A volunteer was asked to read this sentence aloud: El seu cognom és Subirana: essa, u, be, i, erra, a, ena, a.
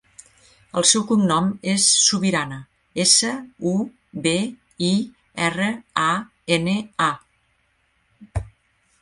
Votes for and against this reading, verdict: 0, 2, rejected